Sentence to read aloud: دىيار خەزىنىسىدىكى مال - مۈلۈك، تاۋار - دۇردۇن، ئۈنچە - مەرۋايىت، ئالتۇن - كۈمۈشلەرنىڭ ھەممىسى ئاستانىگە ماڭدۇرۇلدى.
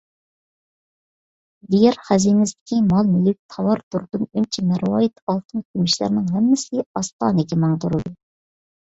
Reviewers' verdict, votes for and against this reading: accepted, 2, 0